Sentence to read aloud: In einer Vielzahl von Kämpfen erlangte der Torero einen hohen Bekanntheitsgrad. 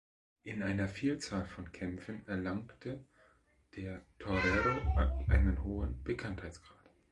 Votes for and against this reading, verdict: 1, 2, rejected